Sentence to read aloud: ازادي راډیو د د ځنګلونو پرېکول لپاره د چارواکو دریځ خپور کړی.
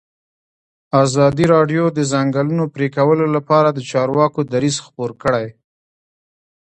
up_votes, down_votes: 1, 2